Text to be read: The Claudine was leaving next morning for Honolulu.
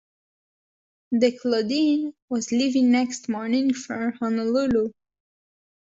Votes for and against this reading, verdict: 2, 0, accepted